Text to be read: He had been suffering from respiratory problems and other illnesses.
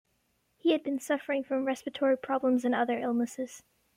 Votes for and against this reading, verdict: 2, 1, accepted